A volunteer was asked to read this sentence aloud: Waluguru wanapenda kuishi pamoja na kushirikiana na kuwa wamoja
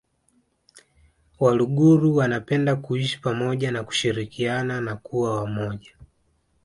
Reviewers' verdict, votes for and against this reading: accepted, 2, 1